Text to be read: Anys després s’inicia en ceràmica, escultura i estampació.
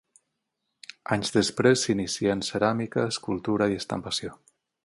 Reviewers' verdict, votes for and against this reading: rejected, 9, 18